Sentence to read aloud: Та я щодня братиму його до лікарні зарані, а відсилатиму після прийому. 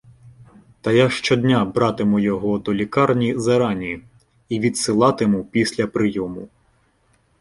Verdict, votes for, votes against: accepted, 2, 1